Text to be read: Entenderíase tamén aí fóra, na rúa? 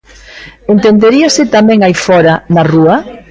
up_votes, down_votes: 2, 0